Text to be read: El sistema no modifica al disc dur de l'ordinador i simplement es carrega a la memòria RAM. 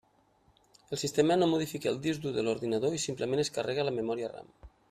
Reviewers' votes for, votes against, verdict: 2, 0, accepted